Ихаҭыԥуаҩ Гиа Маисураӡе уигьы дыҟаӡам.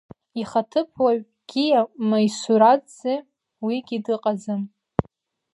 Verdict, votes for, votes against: accepted, 2, 0